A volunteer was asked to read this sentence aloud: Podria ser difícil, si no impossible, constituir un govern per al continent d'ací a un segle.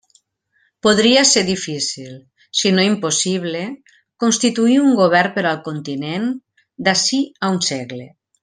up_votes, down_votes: 3, 0